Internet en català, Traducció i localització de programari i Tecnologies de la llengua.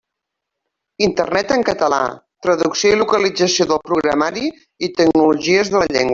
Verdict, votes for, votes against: rejected, 0, 2